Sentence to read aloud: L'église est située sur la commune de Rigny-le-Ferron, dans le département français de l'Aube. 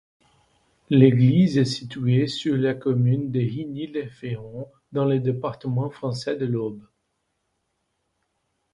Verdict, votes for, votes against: rejected, 1, 2